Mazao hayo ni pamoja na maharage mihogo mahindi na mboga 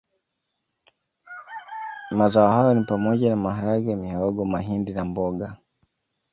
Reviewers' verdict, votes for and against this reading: rejected, 1, 2